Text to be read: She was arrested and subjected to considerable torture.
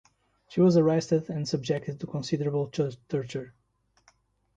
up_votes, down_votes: 1, 2